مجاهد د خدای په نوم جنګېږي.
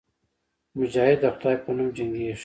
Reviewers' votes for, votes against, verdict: 2, 0, accepted